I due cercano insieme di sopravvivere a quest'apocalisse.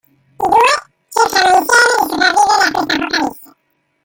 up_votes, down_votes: 0, 2